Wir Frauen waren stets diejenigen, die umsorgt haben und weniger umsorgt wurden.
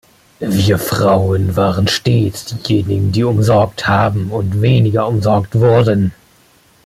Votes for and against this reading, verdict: 2, 0, accepted